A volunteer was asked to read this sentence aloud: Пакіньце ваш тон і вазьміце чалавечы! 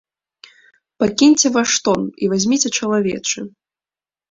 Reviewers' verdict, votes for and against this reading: accepted, 2, 0